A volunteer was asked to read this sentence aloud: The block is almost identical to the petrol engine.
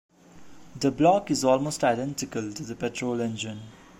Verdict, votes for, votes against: accepted, 2, 0